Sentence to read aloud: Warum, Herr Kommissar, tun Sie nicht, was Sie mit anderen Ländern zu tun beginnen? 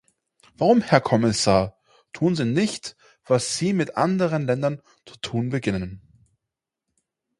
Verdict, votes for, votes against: accepted, 4, 0